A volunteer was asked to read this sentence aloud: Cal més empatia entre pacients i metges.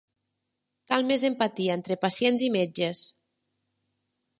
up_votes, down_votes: 3, 0